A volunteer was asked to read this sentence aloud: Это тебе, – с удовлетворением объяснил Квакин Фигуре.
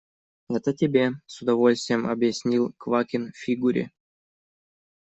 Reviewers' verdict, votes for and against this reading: rejected, 1, 2